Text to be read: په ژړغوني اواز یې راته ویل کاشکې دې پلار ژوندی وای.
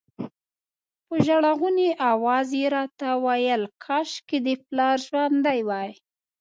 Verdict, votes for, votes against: rejected, 1, 2